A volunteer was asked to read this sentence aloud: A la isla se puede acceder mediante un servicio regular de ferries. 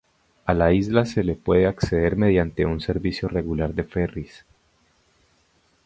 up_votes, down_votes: 2, 2